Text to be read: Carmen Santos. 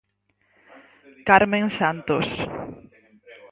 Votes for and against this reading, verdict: 4, 0, accepted